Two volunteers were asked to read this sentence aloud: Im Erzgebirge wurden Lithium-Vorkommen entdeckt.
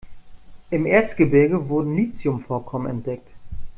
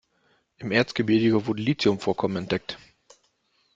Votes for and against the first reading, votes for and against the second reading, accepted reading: 2, 0, 0, 2, first